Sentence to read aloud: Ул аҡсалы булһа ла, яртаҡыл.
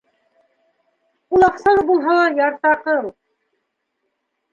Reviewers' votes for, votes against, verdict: 1, 2, rejected